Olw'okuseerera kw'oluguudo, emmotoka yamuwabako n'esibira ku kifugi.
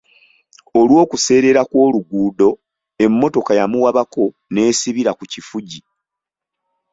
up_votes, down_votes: 2, 0